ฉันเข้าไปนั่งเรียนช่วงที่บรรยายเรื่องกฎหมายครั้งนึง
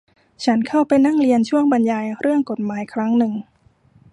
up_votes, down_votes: 0, 2